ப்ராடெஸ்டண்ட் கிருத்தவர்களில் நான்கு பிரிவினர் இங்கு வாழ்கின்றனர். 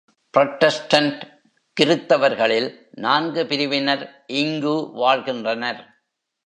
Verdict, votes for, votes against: rejected, 1, 2